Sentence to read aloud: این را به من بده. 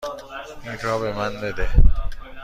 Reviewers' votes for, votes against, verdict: 2, 0, accepted